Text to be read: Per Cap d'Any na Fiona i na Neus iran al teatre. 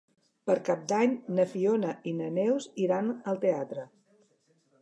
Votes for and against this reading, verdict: 3, 0, accepted